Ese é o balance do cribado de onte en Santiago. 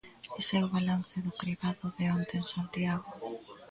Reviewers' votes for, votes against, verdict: 2, 0, accepted